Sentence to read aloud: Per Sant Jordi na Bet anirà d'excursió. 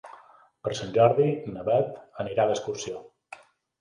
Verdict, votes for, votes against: accepted, 2, 0